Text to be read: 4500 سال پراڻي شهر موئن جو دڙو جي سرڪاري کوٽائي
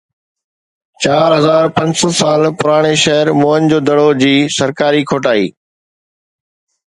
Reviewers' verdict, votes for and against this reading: rejected, 0, 2